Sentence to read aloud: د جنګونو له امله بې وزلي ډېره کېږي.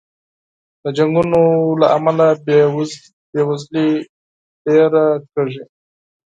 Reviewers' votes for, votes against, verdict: 2, 6, rejected